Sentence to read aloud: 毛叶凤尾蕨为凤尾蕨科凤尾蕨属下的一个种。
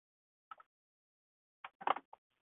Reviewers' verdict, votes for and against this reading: rejected, 0, 5